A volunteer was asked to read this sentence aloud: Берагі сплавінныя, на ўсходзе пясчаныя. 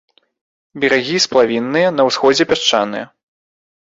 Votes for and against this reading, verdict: 2, 0, accepted